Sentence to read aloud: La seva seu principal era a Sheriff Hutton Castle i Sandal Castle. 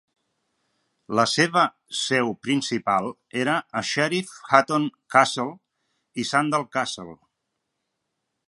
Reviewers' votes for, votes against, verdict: 2, 0, accepted